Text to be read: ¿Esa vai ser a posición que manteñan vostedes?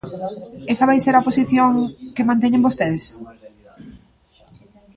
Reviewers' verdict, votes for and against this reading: rejected, 0, 2